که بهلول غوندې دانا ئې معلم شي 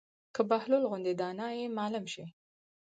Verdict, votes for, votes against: accepted, 4, 2